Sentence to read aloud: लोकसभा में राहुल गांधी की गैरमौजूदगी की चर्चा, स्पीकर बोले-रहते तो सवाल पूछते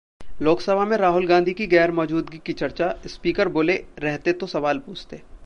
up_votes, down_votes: 2, 0